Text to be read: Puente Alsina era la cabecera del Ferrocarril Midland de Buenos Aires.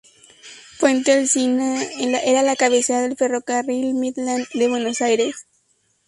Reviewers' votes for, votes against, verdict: 0, 2, rejected